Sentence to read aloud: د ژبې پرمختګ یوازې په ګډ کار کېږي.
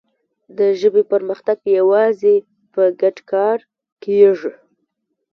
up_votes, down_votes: 1, 2